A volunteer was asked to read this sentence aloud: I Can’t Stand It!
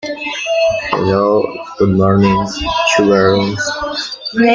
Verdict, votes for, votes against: rejected, 0, 2